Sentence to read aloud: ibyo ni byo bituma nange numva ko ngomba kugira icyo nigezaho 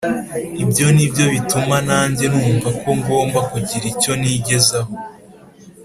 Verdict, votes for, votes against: accepted, 2, 0